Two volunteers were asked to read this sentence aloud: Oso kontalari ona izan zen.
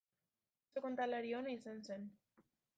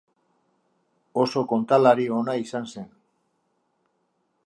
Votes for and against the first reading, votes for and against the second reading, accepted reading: 0, 2, 4, 0, second